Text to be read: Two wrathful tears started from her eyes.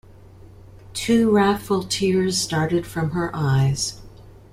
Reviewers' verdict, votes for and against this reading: accepted, 2, 0